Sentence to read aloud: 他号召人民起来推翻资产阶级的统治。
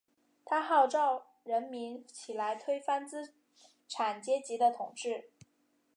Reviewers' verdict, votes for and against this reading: accepted, 2, 0